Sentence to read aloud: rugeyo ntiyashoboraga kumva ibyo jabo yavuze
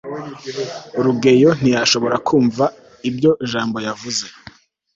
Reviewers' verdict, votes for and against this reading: rejected, 0, 2